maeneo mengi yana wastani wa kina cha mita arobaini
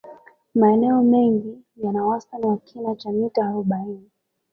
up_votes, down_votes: 2, 0